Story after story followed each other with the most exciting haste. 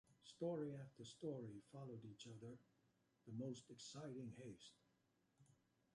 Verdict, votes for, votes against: accepted, 2, 0